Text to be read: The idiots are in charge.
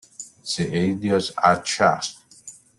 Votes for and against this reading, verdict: 0, 2, rejected